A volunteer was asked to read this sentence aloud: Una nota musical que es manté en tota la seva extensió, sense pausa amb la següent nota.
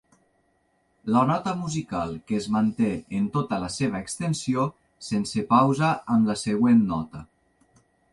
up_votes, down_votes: 1, 2